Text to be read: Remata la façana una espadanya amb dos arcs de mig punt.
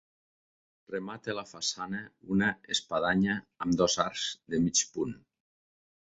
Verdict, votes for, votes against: accepted, 2, 0